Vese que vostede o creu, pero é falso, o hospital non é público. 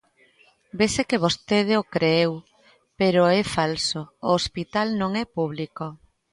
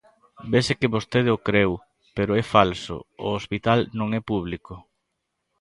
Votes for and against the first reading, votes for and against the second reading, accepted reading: 0, 2, 2, 0, second